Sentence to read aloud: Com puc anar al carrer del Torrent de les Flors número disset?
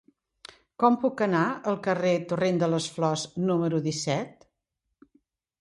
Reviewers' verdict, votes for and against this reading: rejected, 1, 2